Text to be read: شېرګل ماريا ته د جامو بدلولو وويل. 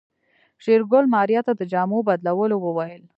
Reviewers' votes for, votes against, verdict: 2, 0, accepted